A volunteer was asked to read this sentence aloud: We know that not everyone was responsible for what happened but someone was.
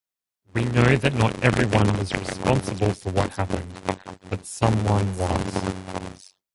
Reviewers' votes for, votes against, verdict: 1, 2, rejected